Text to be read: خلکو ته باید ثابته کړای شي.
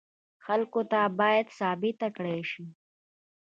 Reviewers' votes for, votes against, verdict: 2, 0, accepted